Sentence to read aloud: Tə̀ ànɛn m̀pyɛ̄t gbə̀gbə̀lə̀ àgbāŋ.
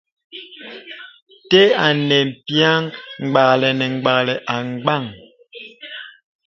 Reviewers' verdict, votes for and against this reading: accepted, 2, 1